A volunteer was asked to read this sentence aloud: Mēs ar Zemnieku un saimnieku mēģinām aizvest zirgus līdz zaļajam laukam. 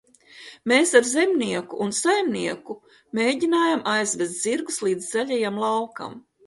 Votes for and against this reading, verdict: 0, 2, rejected